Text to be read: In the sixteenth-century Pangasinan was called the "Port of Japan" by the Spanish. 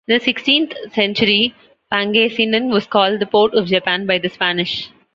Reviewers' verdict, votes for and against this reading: accepted, 2, 0